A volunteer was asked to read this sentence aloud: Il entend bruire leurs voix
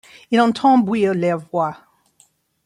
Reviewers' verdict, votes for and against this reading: rejected, 1, 2